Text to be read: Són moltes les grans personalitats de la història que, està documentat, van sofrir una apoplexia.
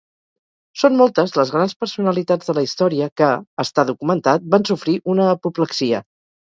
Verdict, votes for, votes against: rejected, 2, 2